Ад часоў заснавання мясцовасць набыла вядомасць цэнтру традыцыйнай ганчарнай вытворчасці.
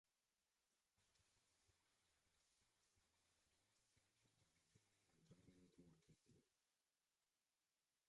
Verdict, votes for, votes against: rejected, 0, 2